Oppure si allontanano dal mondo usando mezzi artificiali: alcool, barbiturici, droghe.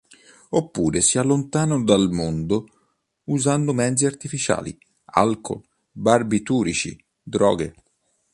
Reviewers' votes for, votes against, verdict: 2, 0, accepted